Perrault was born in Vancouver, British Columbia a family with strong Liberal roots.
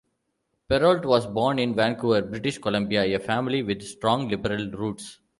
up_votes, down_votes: 2, 0